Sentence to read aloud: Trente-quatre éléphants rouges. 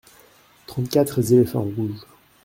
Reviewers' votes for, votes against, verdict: 0, 2, rejected